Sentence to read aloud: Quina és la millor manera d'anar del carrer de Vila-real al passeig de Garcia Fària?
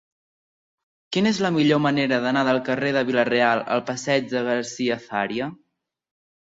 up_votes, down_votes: 2, 0